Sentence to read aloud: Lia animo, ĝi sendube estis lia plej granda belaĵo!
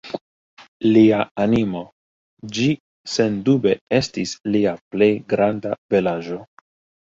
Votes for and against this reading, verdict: 2, 0, accepted